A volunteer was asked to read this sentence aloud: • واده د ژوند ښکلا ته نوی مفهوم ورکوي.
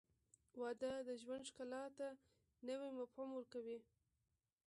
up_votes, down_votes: 1, 2